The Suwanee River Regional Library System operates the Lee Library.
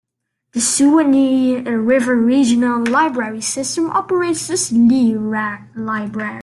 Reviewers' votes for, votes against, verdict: 0, 2, rejected